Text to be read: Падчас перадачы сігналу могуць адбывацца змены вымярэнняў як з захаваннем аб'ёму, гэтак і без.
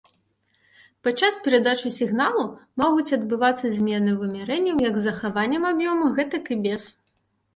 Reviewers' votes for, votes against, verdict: 2, 0, accepted